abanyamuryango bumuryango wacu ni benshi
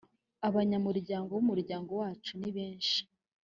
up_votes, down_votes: 2, 0